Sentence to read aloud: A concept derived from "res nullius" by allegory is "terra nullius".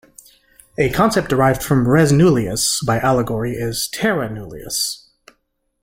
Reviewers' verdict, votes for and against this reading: accepted, 3, 0